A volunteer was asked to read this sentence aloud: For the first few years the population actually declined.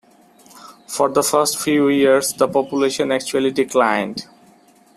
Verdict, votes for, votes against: accepted, 2, 0